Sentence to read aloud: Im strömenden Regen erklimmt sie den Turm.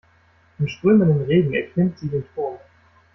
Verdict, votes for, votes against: accepted, 2, 1